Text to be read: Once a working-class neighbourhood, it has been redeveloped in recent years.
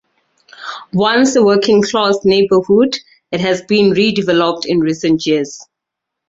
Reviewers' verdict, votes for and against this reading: rejected, 2, 2